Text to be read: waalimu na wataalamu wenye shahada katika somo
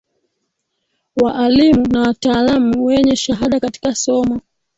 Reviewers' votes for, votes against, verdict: 1, 3, rejected